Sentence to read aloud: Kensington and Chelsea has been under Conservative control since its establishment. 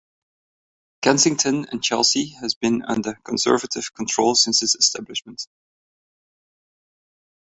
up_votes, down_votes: 2, 0